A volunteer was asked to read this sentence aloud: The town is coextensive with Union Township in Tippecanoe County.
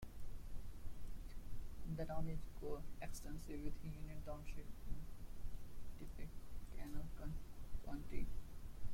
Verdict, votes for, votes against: accepted, 2, 0